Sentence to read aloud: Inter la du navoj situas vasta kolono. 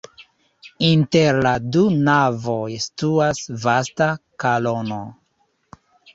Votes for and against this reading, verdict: 0, 2, rejected